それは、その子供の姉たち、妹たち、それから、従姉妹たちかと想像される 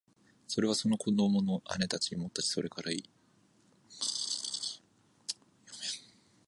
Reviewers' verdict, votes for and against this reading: rejected, 1, 6